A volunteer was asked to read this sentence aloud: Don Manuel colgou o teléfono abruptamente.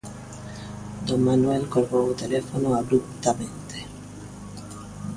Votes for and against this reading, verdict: 2, 0, accepted